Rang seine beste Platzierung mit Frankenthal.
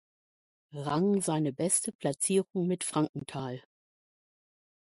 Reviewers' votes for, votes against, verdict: 2, 0, accepted